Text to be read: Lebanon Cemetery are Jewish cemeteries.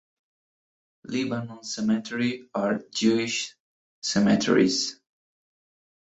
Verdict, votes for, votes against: rejected, 1, 2